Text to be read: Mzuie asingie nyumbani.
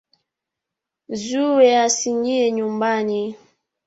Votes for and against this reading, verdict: 0, 2, rejected